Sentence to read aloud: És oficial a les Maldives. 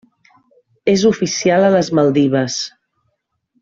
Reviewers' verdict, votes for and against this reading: accepted, 3, 0